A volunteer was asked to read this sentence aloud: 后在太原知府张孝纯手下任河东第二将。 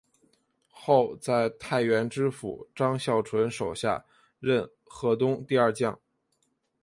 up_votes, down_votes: 6, 0